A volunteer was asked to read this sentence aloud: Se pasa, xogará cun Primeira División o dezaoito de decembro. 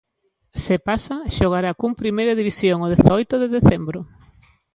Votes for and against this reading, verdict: 2, 0, accepted